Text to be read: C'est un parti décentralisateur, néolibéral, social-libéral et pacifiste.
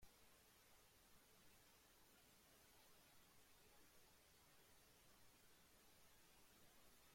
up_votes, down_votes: 0, 2